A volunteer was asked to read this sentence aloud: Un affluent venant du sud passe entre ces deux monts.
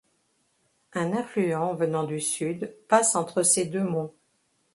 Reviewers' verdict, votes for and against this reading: accepted, 2, 0